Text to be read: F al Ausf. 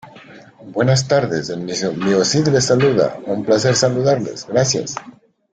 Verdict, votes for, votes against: rejected, 0, 2